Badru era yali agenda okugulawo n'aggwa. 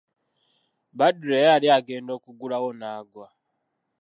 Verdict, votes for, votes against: accepted, 2, 0